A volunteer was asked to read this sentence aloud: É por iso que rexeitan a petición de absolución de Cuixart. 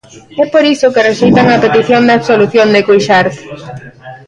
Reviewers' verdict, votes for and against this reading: rejected, 0, 2